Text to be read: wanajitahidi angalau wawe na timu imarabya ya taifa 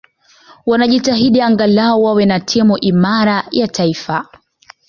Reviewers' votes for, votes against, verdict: 2, 0, accepted